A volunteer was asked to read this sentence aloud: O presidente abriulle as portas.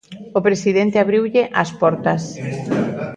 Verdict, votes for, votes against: accepted, 2, 0